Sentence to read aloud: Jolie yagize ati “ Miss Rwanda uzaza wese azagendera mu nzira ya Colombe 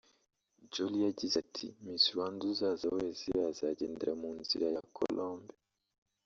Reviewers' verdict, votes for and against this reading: accepted, 2, 0